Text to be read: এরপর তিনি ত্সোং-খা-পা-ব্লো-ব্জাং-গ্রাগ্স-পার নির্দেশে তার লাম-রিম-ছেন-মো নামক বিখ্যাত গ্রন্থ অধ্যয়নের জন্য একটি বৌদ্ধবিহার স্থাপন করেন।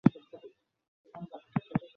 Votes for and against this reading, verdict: 0, 2, rejected